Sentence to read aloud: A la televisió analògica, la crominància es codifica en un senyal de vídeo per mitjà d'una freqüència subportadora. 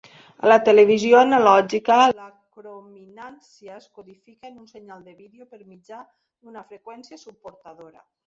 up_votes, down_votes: 1, 2